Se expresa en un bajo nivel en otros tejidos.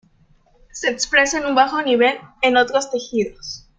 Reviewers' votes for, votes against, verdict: 2, 0, accepted